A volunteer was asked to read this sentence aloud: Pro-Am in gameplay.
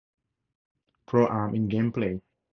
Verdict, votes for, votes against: accepted, 2, 0